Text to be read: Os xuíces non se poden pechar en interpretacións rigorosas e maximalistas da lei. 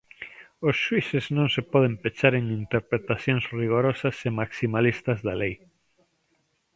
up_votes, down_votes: 2, 0